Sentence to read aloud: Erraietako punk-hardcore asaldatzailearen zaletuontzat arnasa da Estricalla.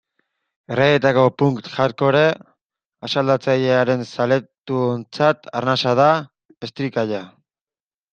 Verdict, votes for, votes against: rejected, 0, 2